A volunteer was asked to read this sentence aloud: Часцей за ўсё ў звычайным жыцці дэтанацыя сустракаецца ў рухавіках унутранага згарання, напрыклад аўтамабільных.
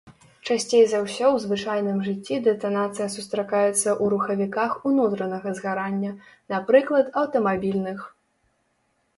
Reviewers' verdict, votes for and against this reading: accepted, 2, 0